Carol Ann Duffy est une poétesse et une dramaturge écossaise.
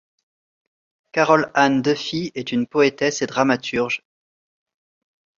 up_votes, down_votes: 1, 3